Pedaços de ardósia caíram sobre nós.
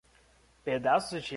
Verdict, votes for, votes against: rejected, 0, 2